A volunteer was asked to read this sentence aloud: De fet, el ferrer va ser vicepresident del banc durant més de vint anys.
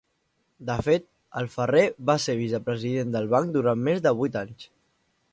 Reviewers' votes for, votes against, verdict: 0, 2, rejected